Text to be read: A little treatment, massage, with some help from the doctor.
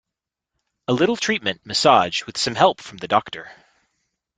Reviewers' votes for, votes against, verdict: 2, 0, accepted